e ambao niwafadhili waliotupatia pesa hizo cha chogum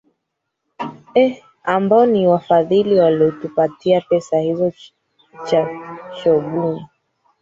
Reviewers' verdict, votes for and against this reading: rejected, 0, 4